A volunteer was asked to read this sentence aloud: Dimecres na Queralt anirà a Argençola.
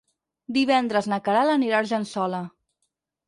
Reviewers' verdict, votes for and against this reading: rejected, 2, 4